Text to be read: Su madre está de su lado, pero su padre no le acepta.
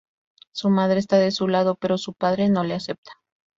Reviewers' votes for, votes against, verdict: 2, 0, accepted